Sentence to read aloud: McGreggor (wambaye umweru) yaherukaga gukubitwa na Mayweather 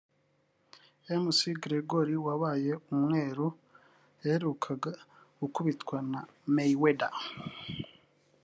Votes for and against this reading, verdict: 2, 3, rejected